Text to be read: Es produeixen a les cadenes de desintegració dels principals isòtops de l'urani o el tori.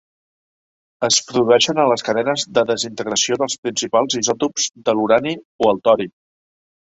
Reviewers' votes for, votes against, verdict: 2, 0, accepted